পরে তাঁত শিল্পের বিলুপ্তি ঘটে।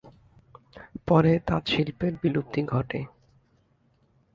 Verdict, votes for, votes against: accepted, 3, 0